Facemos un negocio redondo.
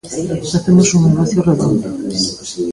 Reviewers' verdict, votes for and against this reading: rejected, 1, 2